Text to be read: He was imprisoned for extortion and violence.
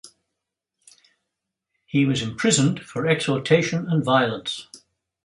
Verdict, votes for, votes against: rejected, 0, 2